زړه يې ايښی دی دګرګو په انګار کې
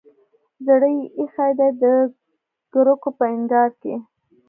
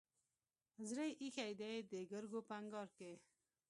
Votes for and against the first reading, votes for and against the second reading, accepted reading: 1, 2, 2, 0, second